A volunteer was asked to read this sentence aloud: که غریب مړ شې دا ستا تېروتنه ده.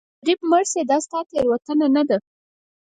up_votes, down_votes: 0, 4